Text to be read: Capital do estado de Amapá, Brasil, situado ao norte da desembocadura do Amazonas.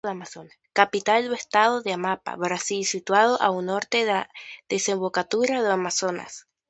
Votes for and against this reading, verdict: 0, 2, rejected